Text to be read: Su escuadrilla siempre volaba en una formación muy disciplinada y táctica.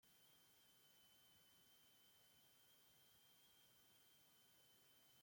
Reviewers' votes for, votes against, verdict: 0, 2, rejected